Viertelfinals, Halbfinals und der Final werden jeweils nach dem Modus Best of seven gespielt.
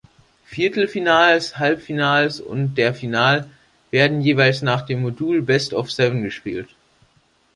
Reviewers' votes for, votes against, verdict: 0, 2, rejected